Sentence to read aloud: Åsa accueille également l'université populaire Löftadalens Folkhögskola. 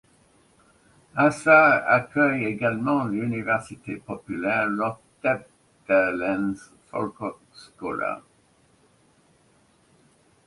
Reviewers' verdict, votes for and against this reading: rejected, 0, 2